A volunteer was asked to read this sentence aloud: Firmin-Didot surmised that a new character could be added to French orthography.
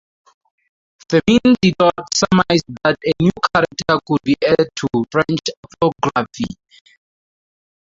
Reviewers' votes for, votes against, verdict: 0, 2, rejected